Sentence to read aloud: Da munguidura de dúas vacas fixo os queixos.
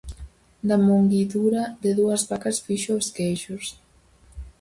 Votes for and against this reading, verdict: 4, 0, accepted